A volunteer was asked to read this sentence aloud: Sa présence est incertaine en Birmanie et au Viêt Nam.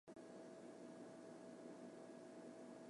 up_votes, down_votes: 0, 2